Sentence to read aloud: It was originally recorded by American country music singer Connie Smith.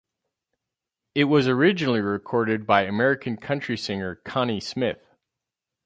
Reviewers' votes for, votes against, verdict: 2, 2, rejected